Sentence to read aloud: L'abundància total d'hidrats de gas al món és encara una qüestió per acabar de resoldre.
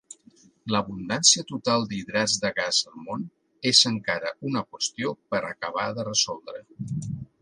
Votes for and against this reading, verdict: 2, 0, accepted